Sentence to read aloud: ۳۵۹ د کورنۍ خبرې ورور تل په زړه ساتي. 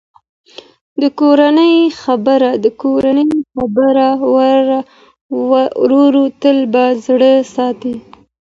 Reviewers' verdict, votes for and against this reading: rejected, 0, 2